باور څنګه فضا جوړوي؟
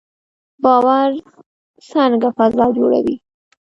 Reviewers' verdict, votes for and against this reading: accepted, 2, 0